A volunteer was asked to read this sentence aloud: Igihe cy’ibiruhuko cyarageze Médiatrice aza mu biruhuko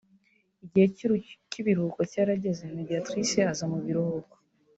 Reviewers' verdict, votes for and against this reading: rejected, 1, 2